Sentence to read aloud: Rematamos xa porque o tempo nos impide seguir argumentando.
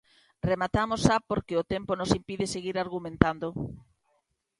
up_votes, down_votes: 2, 0